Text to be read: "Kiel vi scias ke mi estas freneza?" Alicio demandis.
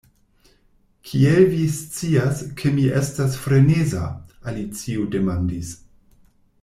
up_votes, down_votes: 2, 0